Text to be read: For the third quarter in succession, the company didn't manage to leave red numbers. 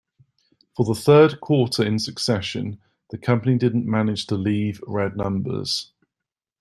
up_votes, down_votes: 2, 0